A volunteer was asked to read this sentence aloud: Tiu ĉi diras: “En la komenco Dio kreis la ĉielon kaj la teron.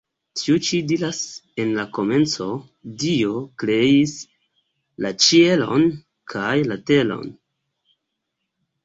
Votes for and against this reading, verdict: 1, 2, rejected